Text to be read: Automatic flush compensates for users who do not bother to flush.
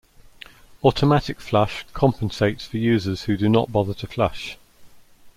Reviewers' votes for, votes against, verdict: 2, 0, accepted